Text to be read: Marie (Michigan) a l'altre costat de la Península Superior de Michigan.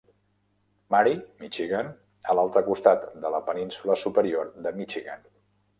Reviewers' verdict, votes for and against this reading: accepted, 2, 0